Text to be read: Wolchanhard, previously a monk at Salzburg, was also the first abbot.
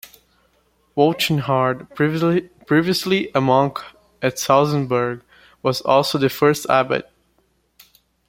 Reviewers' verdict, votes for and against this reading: rejected, 0, 2